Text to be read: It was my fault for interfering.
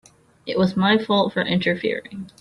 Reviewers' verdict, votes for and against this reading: accepted, 3, 0